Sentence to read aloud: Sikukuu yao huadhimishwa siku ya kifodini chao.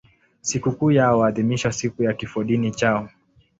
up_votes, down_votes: 2, 0